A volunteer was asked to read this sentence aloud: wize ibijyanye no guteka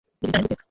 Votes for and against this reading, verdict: 1, 2, rejected